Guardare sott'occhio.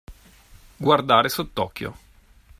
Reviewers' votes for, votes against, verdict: 2, 0, accepted